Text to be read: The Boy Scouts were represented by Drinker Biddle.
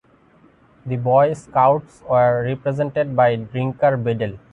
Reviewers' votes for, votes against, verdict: 0, 2, rejected